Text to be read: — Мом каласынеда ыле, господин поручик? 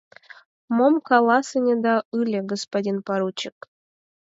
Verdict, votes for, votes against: accepted, 4, 0